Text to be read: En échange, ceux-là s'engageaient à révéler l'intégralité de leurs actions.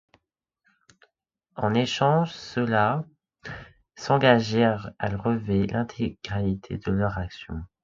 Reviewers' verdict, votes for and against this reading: rejected, 1, 2